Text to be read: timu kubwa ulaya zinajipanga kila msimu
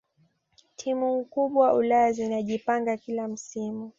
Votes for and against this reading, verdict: 2, 0, accepted